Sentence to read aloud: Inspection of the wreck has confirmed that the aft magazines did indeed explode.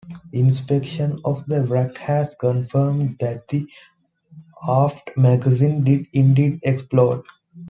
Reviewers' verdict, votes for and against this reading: rejected, 0, 2